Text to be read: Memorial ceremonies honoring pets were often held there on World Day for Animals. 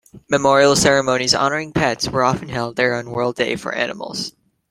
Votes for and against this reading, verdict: 2, 0, accepted